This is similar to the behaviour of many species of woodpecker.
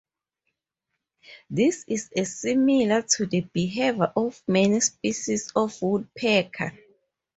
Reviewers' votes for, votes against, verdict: 0, 2, rejected